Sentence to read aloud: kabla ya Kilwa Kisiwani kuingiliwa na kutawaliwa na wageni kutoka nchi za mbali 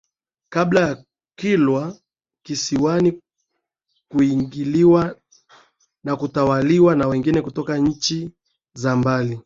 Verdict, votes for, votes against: rejected, 4, 4